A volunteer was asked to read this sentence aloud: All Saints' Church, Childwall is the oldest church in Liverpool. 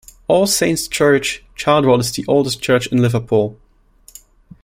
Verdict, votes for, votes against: accepted, 2, 0